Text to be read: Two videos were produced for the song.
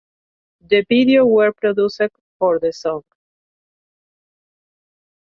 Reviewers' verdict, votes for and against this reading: rejected, 0, 2